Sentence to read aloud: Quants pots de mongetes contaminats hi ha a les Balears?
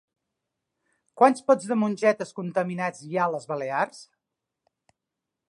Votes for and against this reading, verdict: 4, 0, accepted